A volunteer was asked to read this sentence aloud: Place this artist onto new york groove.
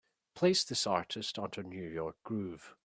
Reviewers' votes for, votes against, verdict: 3, 0, accepted